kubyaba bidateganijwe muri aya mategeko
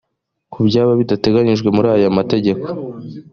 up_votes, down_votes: 2, 0